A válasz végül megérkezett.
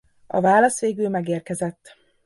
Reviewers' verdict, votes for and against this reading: accepted, 2, 0